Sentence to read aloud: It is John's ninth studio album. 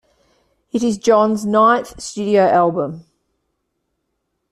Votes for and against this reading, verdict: 2, 0, accepted